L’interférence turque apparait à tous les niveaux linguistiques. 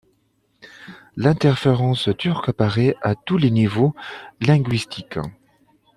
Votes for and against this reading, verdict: 2, 1, accepted